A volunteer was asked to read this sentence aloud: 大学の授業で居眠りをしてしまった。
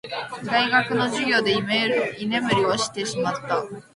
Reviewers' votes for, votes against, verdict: 1, 2, rejected